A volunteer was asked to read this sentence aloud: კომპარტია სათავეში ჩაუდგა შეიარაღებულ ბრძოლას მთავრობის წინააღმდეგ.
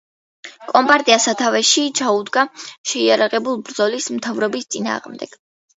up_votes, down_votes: 1, 2